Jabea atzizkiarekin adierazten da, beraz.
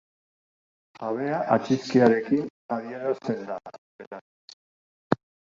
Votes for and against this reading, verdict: 0, 2, rejected